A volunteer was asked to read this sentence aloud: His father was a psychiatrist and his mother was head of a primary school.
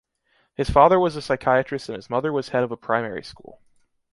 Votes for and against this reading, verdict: 2, 0, accepted